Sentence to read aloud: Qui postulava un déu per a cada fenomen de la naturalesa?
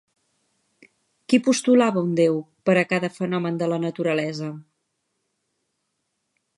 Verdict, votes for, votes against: accepted, 4, 0